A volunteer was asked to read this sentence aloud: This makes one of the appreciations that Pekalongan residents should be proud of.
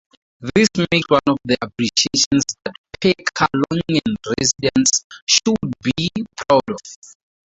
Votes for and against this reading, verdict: 2, 2, rejected